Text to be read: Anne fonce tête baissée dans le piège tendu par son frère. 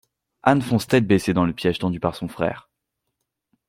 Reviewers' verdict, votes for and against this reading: accepted, 2, 0